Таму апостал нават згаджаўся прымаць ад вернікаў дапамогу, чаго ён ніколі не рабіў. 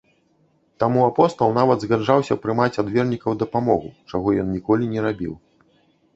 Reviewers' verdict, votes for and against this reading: accepted, 2, 0